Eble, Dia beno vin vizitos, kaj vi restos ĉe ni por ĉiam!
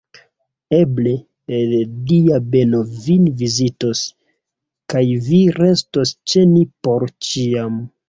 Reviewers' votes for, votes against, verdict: 1, 2, rejected